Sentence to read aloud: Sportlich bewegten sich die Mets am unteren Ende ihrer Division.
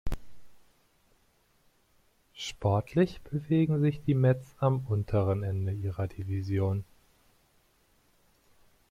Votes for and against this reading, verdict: 0, 2, rejected